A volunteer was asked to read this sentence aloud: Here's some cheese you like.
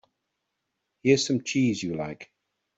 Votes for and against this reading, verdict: 2, 0, accepted